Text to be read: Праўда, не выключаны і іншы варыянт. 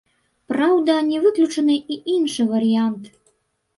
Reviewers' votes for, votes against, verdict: 1, 2, rejected